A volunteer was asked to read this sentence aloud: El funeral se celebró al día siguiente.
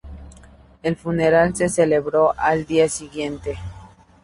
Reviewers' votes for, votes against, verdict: 2, 0, accepted